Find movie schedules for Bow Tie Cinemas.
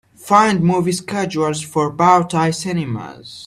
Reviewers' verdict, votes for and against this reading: accepted, 2, 1